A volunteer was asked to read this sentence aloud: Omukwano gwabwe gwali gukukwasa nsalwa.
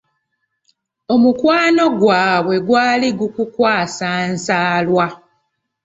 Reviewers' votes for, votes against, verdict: 2, 0, accepted